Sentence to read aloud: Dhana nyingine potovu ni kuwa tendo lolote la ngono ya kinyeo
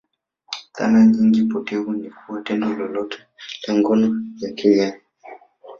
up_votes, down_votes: 1, 2